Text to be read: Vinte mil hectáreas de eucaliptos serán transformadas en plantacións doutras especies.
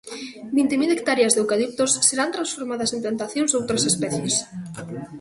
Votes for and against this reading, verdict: 0, 2, rejected